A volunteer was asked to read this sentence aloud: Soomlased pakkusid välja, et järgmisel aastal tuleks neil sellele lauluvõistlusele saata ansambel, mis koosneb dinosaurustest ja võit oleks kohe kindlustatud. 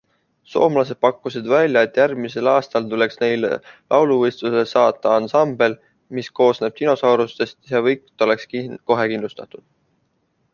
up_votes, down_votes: 1, 2